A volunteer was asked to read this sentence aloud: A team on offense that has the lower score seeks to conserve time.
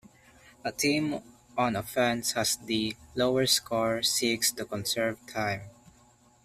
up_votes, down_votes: 1, 2